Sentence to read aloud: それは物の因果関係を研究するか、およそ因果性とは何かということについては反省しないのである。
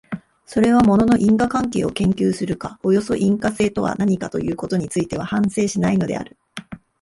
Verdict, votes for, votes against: rejected, 1, 2